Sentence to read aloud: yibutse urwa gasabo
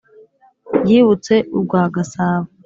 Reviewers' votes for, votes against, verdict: 2, 1, accepted